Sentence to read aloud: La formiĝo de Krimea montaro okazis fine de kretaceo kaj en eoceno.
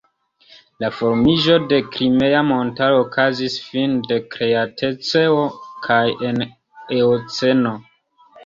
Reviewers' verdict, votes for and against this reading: rejected, 1, 2